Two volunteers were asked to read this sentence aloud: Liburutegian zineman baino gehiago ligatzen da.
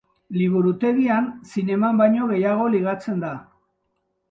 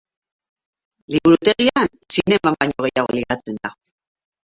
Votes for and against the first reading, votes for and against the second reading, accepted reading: 2, 0, 0, 8, first